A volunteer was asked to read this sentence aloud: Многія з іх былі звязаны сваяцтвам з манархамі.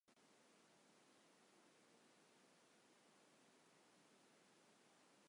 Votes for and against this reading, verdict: 0, 2, rejected